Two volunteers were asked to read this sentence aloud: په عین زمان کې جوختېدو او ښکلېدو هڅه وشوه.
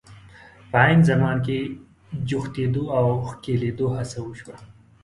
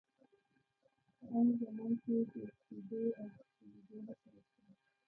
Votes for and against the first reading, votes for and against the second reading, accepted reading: 2, 0, 1, 2, first